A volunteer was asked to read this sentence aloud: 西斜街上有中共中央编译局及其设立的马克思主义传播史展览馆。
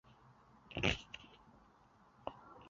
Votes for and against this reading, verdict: 0, 5, rejected